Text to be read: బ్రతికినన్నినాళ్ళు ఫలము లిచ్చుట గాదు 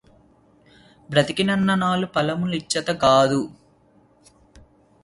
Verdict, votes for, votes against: rejected, 0, 2